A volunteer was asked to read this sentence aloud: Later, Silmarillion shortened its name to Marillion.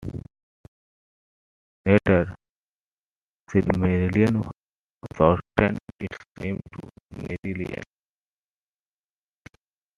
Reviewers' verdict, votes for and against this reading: rejected, 0, 2